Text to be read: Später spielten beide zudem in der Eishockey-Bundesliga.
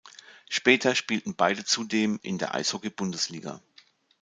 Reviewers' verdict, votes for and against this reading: accepted, 2, 0